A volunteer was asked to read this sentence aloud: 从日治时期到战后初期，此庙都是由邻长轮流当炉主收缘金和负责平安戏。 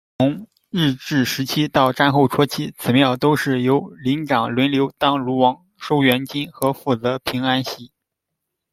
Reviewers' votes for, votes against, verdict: 0, 2, rejected